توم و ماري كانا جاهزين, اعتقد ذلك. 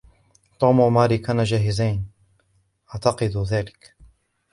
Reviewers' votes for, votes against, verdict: 2, 1, accepted